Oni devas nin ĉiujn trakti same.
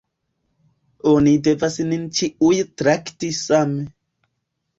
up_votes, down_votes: 2, 1